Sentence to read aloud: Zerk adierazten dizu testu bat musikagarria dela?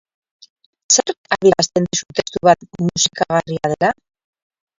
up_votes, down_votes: 0, 2